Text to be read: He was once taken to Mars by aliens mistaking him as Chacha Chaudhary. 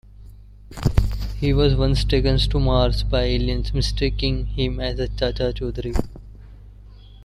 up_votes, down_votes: 2, 1